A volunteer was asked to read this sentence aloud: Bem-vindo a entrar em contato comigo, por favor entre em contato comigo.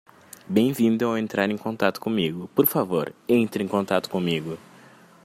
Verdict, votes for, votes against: rejected, 1, 2